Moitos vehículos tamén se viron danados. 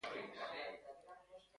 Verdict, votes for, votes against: rejected, 0, 2